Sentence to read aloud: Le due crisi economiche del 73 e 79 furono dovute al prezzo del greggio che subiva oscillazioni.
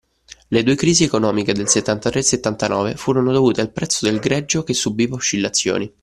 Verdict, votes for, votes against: rejected, 0, 2